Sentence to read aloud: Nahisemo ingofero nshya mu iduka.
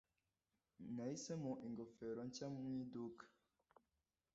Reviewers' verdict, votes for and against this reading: rejected, 0, 2